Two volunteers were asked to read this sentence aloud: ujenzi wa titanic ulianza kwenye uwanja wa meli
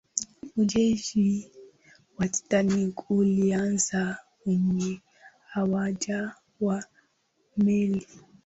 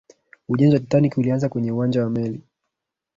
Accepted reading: second